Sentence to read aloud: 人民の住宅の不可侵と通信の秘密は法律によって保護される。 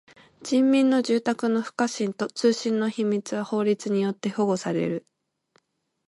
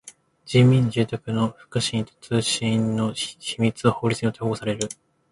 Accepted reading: first